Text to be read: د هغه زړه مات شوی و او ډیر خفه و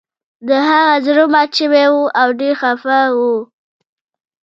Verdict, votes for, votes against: accepted, 2, 0